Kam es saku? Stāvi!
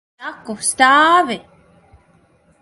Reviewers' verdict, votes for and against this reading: rejected, 0, 4